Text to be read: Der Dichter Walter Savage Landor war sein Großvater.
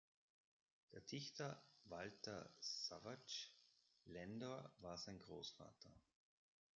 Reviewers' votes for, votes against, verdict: 1, 2, rejected